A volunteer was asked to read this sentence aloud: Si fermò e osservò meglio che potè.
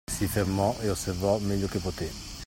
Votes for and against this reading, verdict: 2, 0, accepted